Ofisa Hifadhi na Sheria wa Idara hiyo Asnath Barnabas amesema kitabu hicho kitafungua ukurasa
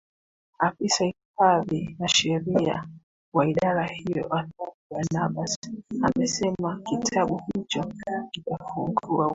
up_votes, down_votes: 0, 2